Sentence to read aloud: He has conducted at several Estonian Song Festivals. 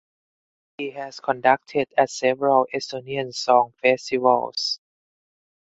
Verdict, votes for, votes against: accepted, 4, 2